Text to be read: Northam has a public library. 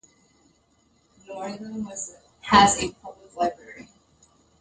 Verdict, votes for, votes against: rejected, 0, 2